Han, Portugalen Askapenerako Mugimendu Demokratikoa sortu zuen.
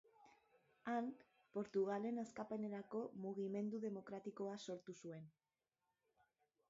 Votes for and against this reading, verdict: 0, 3, rejected